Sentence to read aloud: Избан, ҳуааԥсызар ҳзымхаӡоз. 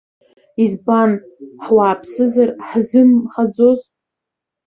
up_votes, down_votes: 2, 0